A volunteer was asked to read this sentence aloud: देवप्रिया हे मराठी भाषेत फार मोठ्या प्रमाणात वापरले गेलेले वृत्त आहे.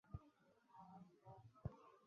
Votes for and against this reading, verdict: 1, 2, rejected